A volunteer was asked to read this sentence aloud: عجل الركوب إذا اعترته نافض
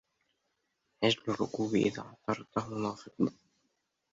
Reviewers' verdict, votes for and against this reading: rejected, 0, 2